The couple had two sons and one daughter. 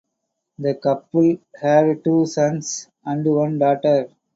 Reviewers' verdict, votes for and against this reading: accepted, 2, 0